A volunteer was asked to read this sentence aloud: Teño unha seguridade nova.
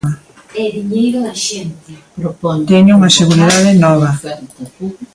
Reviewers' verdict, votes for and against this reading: rejected, 0, 2